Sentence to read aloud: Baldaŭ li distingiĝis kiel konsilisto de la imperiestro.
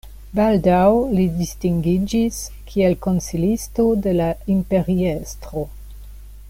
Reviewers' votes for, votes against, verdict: 2, 0, accepted